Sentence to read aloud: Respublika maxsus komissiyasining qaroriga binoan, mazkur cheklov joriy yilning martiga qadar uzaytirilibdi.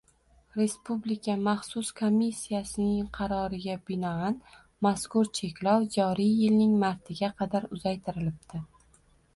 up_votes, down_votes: 2, 0